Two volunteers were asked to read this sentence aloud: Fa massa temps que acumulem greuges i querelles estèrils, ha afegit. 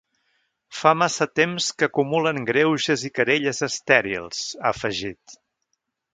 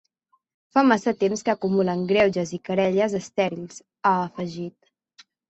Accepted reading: second